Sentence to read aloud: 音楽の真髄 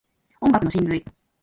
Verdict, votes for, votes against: rejected, 0, 2